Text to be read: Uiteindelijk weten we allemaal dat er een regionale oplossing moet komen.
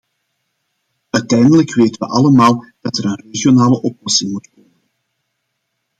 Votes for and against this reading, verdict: 0, 2, rejected